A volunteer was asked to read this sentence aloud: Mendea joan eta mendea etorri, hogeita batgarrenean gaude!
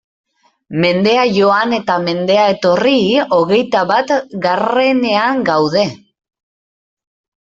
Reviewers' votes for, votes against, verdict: 2, 0, accepted